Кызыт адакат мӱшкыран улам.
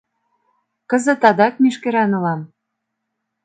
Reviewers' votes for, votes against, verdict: 1, 2, rejected